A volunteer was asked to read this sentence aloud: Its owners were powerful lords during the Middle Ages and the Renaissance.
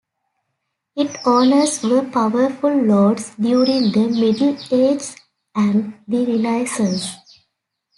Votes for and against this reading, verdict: 2, 1, accepted